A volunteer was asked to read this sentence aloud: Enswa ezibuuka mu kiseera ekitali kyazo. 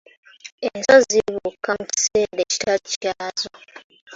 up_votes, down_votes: 0, 2